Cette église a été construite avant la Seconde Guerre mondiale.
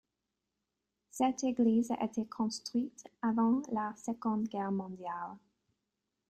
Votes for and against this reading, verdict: 3, 1, accepted